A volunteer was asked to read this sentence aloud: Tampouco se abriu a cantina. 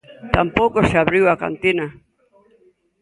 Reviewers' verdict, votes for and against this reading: accepted, 2, 0